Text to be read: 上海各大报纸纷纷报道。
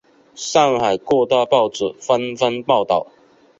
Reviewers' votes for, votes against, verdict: 2, 1, accepted